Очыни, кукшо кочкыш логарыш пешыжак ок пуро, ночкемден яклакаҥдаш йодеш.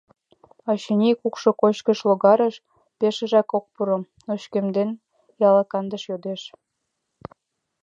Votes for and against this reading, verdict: 0, 2, rejected